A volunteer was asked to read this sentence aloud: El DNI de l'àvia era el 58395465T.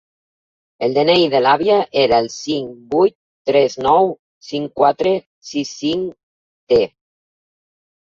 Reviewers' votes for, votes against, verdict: 0, 2, rejected